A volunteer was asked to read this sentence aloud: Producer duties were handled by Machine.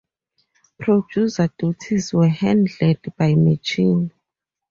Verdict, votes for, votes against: rejected, 2, 2